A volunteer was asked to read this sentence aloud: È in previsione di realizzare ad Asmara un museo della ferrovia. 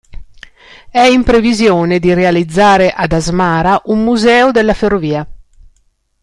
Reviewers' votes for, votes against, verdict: 2, 0, accepted